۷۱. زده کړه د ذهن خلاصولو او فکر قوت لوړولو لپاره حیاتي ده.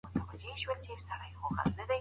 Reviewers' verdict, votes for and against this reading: rejected, 0, 2